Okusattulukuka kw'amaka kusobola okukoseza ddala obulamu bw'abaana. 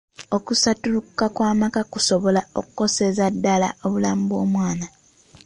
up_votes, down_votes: 2, 1